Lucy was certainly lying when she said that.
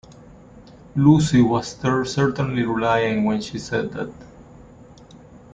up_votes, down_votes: 0, 2